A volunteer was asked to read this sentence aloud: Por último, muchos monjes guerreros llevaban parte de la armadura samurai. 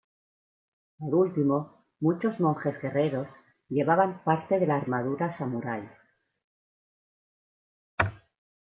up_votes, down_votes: 2, 0